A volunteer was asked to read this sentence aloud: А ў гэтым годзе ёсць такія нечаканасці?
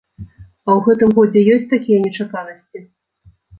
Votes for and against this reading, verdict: 2, 0, accepted